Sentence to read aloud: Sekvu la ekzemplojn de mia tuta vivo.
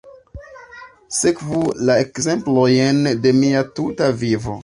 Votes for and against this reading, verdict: 2, 0, accepted